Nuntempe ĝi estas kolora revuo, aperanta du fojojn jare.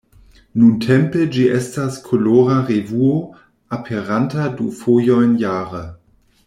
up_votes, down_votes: 2, 0